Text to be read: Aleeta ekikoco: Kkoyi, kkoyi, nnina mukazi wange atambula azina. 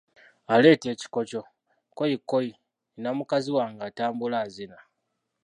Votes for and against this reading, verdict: 0, 2, rejected